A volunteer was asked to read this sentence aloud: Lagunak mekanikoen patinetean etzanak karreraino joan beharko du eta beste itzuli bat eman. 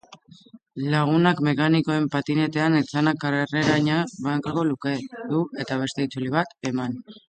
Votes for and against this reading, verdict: 0, 2, rejected